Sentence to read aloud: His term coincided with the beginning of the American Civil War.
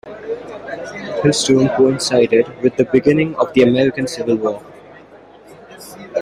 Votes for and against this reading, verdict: 1, 2, rejected